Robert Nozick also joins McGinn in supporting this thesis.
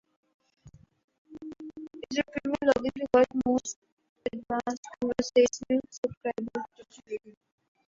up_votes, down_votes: 1, 2